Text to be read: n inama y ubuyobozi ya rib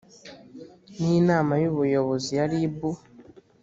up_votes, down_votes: 2, 0